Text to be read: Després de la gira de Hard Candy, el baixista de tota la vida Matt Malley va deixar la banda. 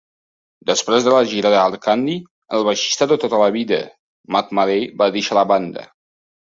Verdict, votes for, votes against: accepted, 2, 0